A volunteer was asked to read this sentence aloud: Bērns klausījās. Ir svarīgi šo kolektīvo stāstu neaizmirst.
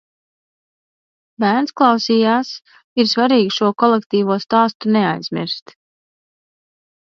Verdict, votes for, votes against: accepted, 2, 1